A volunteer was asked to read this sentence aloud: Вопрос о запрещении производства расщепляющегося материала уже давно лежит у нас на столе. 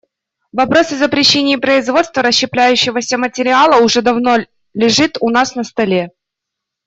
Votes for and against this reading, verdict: 2, 0, accepted